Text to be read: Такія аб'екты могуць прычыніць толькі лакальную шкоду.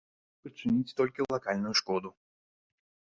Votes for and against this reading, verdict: 0, 2, rejected